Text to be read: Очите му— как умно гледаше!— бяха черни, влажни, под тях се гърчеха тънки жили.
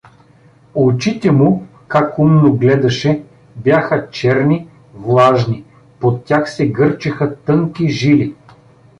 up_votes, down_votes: 2, 1